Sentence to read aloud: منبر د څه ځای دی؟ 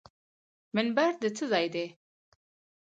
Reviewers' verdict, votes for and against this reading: rejected, 2, 2